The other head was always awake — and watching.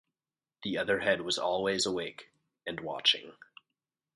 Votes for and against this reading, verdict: 4, 0, accepted